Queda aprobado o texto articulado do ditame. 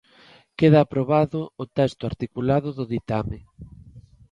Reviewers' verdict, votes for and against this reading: accepted, 2, 0